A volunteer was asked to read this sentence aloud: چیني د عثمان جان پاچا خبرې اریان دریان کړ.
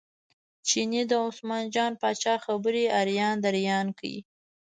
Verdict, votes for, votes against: accepted, 2, 0